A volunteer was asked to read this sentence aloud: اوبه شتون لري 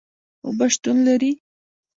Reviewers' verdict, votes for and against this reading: rejected, 1, 2